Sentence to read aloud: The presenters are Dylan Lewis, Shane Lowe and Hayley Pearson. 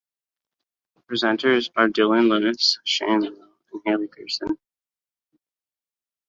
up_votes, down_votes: 0, 2